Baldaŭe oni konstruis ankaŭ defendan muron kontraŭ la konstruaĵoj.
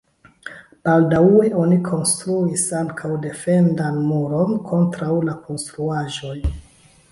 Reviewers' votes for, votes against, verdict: 1, 2, rejected